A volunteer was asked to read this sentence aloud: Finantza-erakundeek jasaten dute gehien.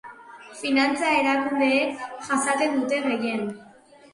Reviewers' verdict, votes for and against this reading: accepted, 2, 0